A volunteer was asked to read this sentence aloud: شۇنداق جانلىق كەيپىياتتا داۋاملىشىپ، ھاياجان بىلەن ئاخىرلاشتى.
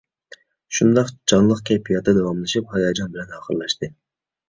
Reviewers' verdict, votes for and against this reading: rejected, 1, 2